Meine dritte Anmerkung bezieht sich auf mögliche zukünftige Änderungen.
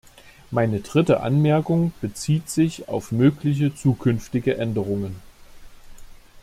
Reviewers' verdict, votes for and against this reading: accepted, 2, 0